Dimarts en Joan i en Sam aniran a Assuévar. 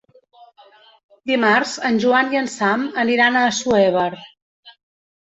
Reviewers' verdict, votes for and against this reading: rejected, 1, 2